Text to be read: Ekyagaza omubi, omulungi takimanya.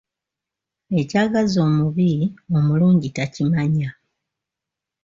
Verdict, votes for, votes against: accepted, 2, 0